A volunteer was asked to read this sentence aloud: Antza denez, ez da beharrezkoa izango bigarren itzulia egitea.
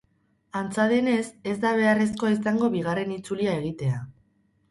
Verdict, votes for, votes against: rejected, 2, 2